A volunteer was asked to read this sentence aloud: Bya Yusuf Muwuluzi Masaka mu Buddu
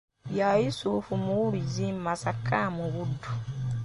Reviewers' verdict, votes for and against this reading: rejected, 0, 2